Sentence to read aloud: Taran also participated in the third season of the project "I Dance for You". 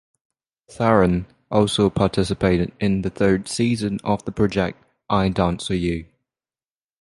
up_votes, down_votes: 0, 6